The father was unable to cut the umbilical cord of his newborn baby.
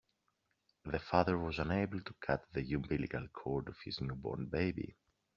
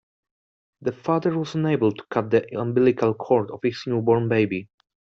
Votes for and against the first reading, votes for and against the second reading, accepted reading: 2, 1, 1, 2, first